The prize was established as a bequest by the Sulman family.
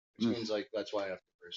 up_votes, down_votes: 0, 2